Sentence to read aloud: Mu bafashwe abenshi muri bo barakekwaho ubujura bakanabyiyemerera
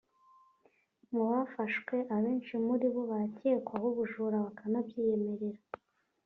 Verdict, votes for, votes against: accepted, 2, 0